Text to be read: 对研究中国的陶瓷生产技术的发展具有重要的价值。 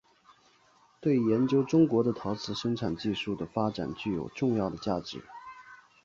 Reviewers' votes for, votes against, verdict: 3, 0, accepted